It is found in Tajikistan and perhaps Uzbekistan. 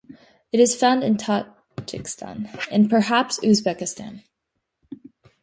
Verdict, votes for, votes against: rejected, 0, 2